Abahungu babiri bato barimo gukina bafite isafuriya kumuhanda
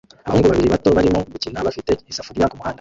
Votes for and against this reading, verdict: 0, 2, rejected